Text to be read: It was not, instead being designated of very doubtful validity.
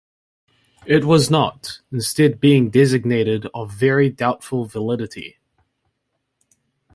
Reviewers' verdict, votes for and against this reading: accepted, 2, 1